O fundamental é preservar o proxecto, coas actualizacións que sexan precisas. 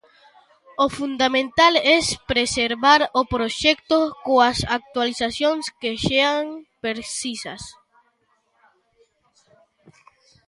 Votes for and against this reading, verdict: 0, 2, rejected